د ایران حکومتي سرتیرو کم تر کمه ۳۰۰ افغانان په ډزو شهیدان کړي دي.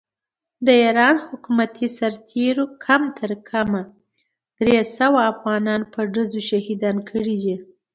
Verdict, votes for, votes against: rejected, 0, 2